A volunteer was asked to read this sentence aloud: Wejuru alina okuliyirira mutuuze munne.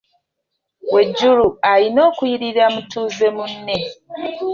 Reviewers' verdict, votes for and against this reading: rejected, 1, 2